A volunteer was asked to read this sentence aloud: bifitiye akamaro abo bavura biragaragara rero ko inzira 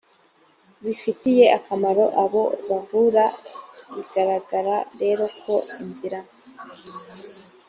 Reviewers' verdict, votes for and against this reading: accepted, 2, 1